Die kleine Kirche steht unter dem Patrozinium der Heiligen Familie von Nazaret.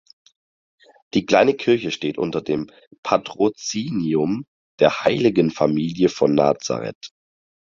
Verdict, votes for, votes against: accepted, 4, 0